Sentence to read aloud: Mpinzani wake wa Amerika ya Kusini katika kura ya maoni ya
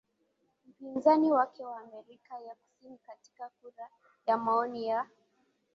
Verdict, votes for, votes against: accepted, 2, 1